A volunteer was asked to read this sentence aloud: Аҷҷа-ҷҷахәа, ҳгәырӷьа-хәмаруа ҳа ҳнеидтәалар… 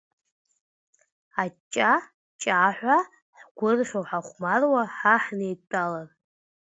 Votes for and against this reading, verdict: 0, 2, rejected